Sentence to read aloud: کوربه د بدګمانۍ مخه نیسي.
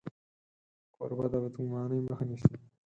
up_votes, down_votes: 4, 0